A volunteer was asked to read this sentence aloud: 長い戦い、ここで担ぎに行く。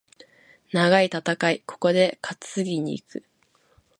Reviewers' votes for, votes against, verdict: 2, 0, accepted